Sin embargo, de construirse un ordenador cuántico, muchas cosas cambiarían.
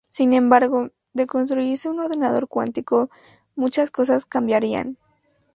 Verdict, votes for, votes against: accepted, 2, 0